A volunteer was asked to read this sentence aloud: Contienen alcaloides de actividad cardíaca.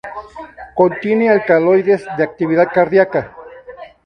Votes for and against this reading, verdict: 4, 0, accepted